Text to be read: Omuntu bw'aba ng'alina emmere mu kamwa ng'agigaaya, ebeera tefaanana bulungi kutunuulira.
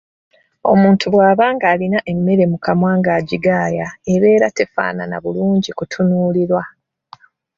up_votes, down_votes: 0, 2